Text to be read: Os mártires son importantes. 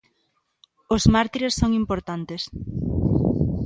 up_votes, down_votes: 2, 0